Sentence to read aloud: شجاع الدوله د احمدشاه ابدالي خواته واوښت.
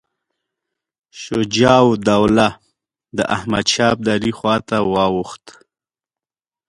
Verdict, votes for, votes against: accepted, 2, 0